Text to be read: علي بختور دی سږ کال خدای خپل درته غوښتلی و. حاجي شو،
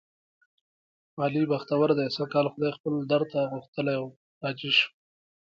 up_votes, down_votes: 3, 2